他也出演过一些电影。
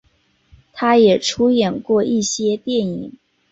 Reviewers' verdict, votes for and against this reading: accepted, 3, 0